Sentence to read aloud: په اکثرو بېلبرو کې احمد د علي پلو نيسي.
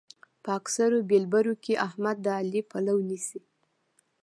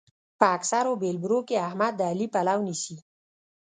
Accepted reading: first